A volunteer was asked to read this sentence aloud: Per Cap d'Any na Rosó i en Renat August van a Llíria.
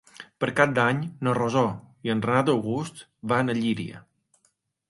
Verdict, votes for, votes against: accepted, 4, 1